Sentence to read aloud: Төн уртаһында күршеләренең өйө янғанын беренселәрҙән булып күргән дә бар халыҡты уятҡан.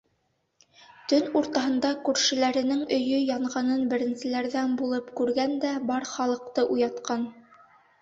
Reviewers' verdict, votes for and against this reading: accepted, 2, 1